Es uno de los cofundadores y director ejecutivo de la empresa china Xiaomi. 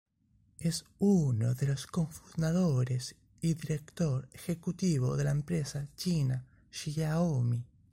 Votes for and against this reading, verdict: 1, 2, rejected